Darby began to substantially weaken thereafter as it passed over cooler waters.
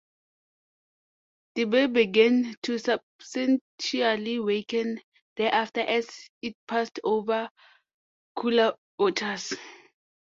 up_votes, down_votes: 0, 2